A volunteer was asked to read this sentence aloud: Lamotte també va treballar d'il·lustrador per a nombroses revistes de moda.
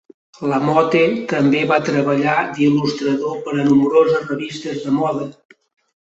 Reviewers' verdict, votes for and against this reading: rejected, 0, 2